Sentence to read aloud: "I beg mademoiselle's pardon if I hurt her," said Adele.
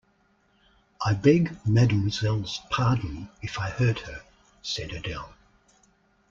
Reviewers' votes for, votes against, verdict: 2, 0, accepted